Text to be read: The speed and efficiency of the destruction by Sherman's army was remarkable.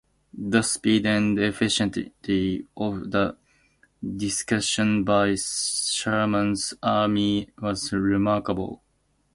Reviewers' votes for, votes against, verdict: 2, 0, accepted